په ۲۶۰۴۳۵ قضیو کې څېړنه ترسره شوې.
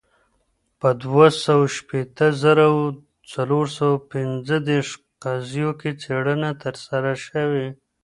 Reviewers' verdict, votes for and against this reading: rejected, 0, 2